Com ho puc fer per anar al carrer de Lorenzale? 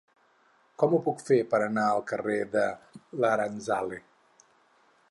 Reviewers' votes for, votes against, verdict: 2, 2, rejected